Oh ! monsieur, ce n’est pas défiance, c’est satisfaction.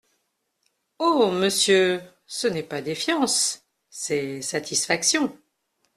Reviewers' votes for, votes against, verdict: 2, 0, accepted